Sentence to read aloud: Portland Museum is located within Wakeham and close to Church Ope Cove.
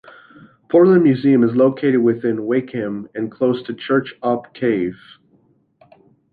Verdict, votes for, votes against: rejected, 0, 2